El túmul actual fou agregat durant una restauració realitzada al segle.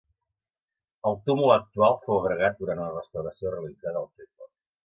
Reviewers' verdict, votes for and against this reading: rejected, 0, 2